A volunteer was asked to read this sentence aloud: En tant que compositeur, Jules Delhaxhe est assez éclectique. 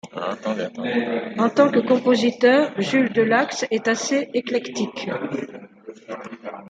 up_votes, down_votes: 1, 2